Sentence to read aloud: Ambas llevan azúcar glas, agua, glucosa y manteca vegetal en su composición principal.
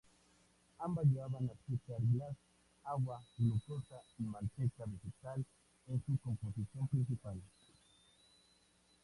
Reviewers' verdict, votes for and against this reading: rejected, 0, 2